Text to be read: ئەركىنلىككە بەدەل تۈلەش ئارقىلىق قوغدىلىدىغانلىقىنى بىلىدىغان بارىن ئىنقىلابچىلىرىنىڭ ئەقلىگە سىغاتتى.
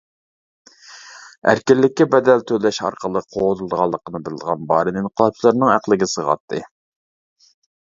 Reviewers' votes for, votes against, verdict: 2, 0, accepted